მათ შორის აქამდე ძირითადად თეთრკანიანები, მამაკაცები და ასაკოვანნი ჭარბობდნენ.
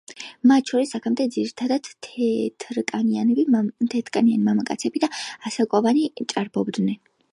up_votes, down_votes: 0, 2